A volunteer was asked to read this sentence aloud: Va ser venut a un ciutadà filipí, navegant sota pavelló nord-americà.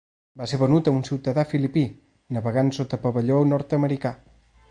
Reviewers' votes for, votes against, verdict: 2, 0, accepted